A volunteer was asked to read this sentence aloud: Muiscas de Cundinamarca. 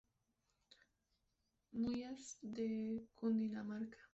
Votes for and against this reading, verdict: 0, 2, rejected